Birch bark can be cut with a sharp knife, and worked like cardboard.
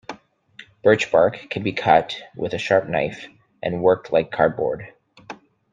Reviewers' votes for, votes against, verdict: 2, 0, accepted